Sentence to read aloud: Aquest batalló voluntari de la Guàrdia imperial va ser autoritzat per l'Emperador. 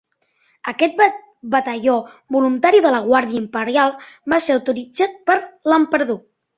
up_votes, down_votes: 1, 2